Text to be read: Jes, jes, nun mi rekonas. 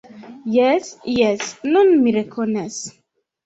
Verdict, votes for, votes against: accepted, 2, 0